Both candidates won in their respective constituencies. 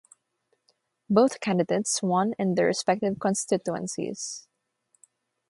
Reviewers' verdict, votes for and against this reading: rejected, 3, 3